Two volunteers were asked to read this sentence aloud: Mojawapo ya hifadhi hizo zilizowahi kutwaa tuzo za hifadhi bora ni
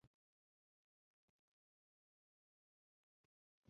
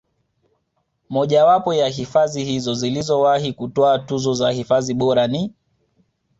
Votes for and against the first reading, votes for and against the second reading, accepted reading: 0, 2, 2, 0, second